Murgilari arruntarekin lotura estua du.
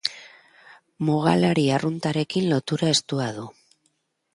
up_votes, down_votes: 0, 3